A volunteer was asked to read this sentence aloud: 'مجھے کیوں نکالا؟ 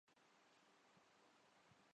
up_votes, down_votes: 0, 2